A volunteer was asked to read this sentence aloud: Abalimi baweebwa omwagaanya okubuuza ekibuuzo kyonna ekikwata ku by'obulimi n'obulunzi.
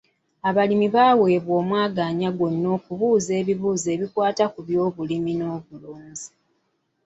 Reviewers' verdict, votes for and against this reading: rejected, 1, 2